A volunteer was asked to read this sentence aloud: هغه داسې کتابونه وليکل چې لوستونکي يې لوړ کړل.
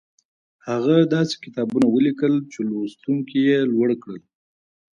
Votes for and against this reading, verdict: 2, 0, accepted